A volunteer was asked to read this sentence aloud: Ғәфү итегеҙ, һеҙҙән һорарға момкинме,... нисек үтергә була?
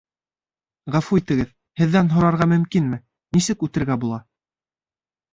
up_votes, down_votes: 1, 2